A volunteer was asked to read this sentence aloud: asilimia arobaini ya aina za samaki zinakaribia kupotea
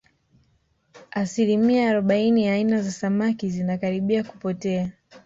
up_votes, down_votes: 1, 2